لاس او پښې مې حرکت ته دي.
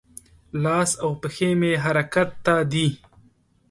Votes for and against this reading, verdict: 2, 0, accepted